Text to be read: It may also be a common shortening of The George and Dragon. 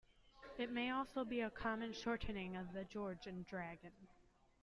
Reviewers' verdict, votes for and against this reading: accepted, 2, 0